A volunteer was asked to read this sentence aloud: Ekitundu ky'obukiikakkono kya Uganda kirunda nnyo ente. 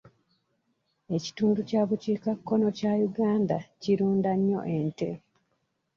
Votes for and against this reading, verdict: 0, 2, rejected